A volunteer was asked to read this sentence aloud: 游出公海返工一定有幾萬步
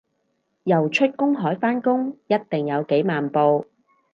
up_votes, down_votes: 4, 0